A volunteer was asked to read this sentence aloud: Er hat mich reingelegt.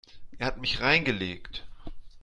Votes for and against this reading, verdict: 2, 0, accepted